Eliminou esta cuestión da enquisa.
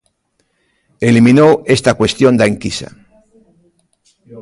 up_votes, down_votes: 2, 0